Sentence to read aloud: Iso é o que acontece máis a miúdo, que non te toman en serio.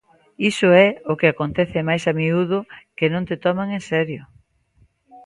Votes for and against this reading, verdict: 2, 0, accepted